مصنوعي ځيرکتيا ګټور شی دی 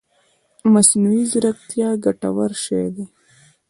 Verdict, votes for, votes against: accepted, 2, 1